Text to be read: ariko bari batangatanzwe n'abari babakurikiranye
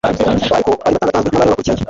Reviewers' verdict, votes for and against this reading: rejected, 1, 2